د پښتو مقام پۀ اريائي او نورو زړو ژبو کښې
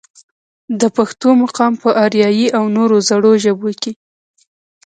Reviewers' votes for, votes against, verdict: 1, 2, rejected